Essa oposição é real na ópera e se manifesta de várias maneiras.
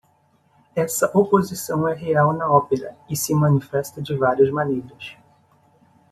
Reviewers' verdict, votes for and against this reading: accepted, 2, 0